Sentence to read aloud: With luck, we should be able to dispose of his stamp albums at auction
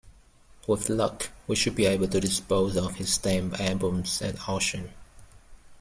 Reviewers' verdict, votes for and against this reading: rejected, 1, 2